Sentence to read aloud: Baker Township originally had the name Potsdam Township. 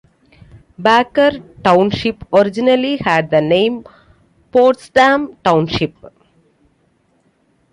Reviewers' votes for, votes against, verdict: 2, 0, accepted